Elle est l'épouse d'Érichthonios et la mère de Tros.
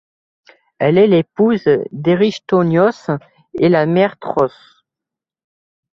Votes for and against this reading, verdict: 0, 2, rejected